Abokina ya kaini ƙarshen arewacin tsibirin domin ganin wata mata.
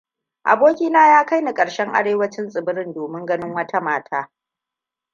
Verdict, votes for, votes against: accepted, 2, 0